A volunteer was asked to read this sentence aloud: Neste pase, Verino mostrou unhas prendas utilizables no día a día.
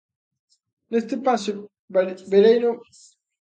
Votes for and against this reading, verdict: 0, 2, rejected